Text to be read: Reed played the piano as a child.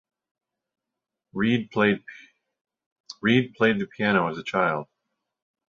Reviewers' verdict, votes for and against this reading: rejected, 0, 2